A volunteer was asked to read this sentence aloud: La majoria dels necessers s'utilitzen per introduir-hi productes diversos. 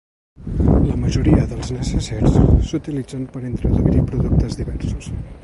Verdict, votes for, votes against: rejected, 2, 3